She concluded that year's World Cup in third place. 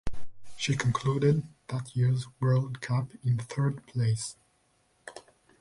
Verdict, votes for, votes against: rejected, 0, 2